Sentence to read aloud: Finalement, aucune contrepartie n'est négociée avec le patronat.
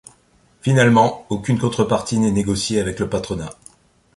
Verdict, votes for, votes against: accepted, 2, 0